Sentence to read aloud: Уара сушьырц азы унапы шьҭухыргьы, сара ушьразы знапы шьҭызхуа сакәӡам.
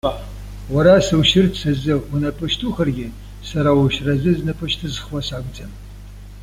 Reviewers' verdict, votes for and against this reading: rejected, 1, 2